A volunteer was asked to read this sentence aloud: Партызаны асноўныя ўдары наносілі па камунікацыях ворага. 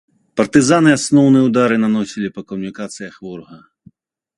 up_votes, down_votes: 2, 0